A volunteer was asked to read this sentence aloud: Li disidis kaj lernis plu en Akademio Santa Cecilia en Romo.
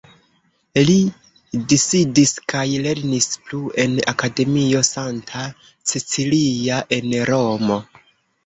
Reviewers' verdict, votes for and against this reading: accepted, 2, 0